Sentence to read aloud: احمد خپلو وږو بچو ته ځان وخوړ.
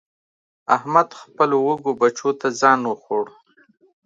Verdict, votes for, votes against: accepted, 2, 0